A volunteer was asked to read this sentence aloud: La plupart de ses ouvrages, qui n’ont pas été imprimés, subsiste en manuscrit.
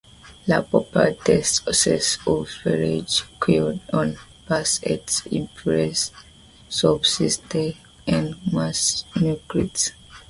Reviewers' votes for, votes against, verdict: 1, 2, rejected